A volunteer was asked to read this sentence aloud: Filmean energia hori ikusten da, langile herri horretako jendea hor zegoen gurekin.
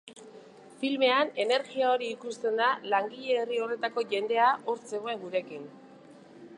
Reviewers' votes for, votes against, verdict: 4, 2, accepted